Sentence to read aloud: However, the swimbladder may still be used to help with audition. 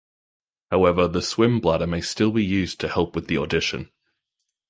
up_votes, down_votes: 1, 2